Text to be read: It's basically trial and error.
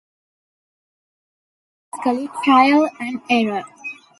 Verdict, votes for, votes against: rejected, 0, 2